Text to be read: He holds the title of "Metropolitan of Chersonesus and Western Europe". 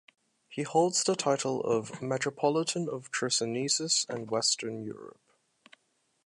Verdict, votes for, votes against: accepted, 2, 0